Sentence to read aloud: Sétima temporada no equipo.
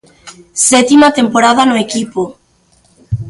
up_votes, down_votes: 2, 0